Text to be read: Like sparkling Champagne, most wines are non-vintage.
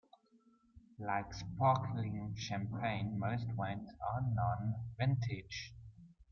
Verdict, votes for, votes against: accepted, 2, 0